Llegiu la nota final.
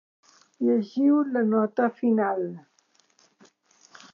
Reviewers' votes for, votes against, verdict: 3, 0, accepted